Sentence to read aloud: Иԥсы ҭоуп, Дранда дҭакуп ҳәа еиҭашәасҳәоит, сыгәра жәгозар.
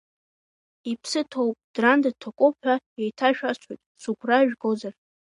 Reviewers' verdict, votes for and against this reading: accepted, 2, 0